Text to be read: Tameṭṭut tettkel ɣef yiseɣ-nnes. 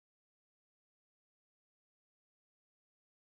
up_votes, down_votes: 1, 2